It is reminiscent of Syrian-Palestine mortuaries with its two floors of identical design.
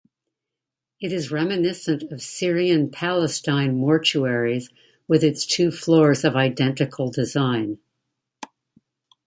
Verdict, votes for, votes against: accepted, 2, 0